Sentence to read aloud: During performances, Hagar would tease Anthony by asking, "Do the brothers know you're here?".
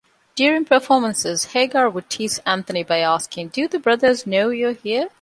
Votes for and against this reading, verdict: 2, 0, accepted